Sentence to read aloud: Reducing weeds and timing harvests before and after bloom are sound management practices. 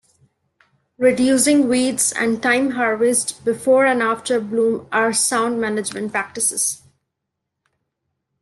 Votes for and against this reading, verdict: 0, 2, rejected